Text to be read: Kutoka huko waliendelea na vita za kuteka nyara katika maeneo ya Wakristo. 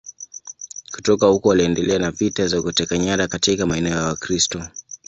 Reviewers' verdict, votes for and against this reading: accepted, 2, 0